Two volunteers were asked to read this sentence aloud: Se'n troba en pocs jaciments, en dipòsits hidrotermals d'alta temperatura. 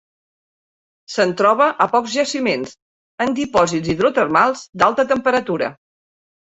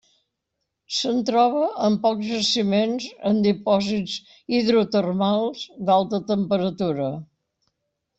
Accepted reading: second